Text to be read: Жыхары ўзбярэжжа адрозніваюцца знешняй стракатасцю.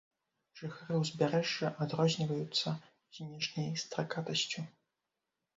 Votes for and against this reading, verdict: 1, 2, rejected